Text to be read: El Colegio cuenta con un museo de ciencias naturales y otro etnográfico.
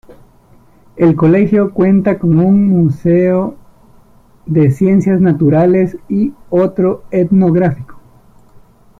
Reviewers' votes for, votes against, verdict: 2, 1, accepted